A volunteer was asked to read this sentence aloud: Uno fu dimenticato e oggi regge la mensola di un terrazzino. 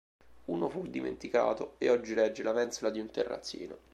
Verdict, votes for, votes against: accepted, 2, 0